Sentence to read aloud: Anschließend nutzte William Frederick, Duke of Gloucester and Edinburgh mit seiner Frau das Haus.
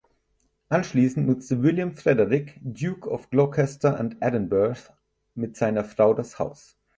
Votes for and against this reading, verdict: 0, 4, rejected